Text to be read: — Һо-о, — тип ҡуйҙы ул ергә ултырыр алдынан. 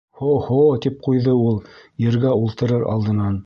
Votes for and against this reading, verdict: 0, 2, rejected